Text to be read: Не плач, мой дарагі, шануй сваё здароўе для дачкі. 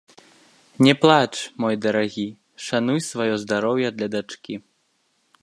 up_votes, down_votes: 2, 0